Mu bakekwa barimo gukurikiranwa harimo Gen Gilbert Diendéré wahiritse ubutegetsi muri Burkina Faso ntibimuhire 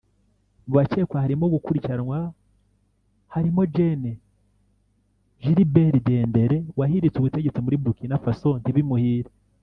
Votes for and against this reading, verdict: 1, 2, rejected